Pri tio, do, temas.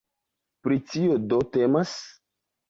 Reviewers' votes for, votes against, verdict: 2, 0, accepted